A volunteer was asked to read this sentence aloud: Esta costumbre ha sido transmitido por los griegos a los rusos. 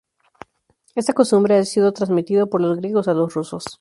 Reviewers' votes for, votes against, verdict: 2, 0, accepted